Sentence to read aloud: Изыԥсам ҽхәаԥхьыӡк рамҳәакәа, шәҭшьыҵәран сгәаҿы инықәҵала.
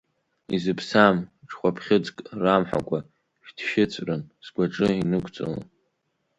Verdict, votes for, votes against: accepted, 2, 1